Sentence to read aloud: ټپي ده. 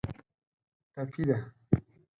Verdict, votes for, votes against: accepted, 4, 0